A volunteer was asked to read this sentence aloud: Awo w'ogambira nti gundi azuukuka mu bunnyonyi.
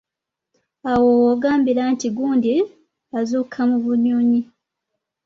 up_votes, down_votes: 2, 0